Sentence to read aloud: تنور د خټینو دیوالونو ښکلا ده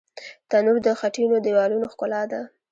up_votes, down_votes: 1, 2